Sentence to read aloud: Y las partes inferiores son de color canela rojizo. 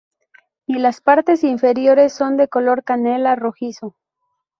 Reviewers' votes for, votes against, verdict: 4, 0, accepted